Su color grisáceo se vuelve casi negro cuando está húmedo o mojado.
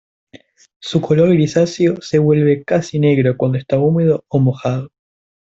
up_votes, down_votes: 2, 0